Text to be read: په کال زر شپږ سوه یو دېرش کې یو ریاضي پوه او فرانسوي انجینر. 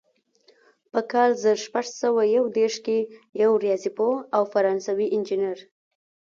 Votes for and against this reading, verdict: 2, 0, accepted